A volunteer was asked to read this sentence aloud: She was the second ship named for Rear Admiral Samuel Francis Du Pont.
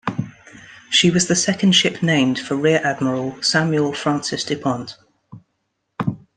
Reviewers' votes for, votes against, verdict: 2, 0, accepted